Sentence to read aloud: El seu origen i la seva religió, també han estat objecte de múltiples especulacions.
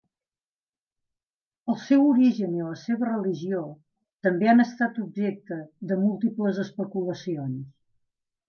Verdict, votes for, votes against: accepted, 2, 0